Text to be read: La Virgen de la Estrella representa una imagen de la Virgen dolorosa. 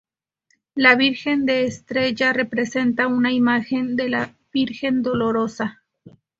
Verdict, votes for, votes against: rejected, 0, 4